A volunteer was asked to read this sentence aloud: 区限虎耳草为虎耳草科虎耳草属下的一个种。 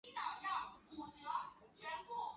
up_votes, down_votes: 0, 7